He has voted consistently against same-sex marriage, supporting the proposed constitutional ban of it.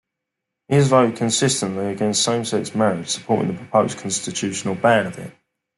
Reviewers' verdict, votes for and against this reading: accepted, 2, 0